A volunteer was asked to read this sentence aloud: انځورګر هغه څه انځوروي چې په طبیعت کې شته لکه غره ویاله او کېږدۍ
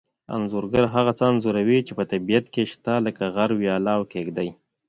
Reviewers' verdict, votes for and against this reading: rejected, 1, 2